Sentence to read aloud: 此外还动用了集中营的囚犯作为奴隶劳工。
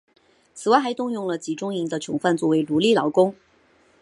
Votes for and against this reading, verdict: 2, 1, accepted